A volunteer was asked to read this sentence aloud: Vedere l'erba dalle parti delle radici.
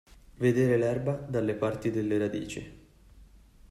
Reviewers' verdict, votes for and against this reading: accepted, 2, 0